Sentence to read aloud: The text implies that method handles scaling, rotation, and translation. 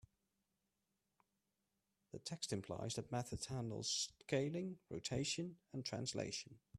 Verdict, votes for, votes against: accepted, 2, 1